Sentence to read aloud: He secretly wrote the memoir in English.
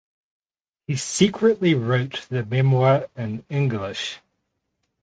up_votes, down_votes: 4, 0